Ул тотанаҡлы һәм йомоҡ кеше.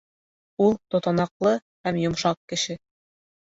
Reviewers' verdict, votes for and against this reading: rejected, 0, 2